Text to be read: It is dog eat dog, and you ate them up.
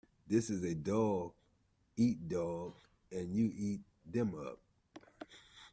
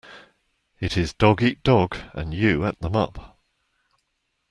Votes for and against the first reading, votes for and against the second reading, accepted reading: 0, 2, 2, 0, second